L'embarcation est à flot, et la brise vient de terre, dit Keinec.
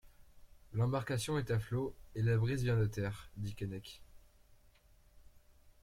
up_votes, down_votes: 2, 0